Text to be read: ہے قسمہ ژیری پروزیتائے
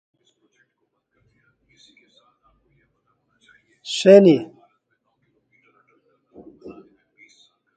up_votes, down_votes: 0, 2